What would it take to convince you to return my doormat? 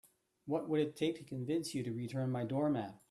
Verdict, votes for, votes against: accepted, 2, 0